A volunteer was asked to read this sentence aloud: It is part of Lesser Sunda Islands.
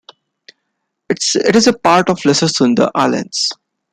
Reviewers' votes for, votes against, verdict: 1, 2, rejected